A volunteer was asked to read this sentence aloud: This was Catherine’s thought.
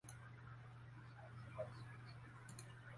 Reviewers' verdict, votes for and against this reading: rejected, 0, 2